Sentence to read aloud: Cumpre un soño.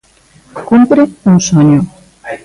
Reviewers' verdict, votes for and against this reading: rejected, 1, 2